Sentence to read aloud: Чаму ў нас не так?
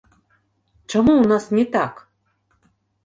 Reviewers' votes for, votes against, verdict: 3, 1, accepted